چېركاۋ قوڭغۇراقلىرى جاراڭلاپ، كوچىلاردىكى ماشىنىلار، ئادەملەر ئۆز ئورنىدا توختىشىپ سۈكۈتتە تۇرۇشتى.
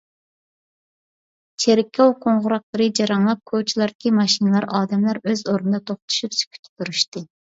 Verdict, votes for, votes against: accepted, 2, 1